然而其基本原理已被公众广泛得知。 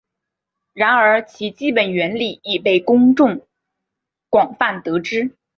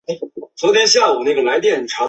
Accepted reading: first